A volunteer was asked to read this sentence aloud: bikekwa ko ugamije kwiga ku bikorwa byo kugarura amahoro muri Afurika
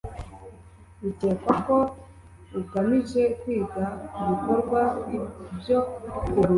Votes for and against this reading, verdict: 1, 2, rejected